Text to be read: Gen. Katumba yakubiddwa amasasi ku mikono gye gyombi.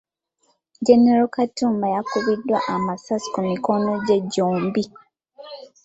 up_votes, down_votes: 2, 0